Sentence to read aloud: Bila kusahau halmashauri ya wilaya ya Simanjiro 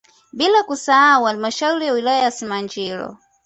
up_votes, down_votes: 2, 0